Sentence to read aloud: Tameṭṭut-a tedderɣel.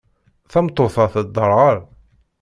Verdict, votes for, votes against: rejected, 0, 2